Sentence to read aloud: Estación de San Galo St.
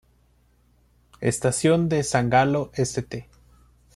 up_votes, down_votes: 2, 0